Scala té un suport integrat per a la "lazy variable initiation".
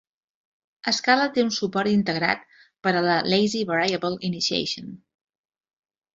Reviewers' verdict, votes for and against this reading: accepted, 4, 0